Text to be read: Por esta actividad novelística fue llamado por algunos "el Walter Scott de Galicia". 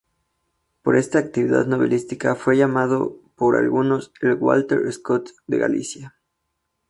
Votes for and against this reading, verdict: 2, 0, accepted